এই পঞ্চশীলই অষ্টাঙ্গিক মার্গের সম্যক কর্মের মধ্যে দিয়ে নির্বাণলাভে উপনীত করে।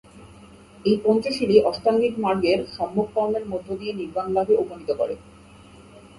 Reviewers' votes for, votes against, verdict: 2, 0, accepted